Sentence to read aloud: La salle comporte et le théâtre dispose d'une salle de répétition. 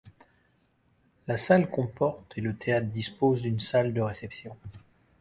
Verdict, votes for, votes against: accepted, 2, 0